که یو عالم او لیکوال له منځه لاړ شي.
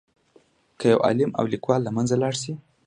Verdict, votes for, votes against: accepted, 2, 0